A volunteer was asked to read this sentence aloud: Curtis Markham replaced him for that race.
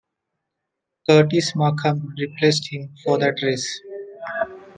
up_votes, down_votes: 1, 2